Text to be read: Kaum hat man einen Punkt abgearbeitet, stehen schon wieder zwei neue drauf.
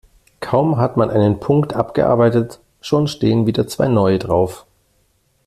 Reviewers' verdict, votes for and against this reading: rejected, 0, 2